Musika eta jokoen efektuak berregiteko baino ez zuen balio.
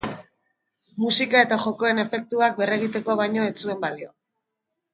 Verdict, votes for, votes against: rejected, 1, 2